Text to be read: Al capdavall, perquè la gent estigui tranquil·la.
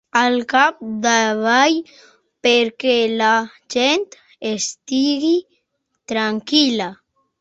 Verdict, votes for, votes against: rejected, 1, 2